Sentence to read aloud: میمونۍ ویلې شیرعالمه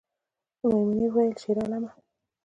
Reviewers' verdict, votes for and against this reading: accepted, 2, 1